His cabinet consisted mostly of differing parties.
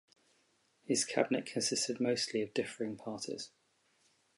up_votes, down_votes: 2, 0